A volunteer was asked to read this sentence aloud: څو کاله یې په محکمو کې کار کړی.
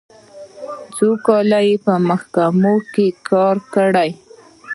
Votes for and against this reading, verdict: 0, 2, rejected